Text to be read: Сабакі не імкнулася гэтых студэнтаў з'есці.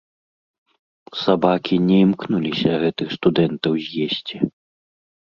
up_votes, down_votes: 0, 2